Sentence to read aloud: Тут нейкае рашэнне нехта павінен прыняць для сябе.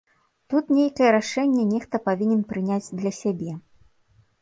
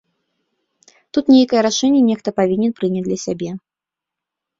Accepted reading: first